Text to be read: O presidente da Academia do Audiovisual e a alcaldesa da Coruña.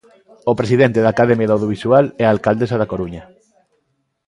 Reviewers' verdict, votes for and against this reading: rejected, 1, 2